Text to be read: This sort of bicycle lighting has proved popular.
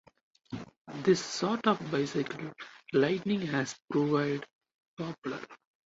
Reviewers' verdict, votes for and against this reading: rejected, 2, 2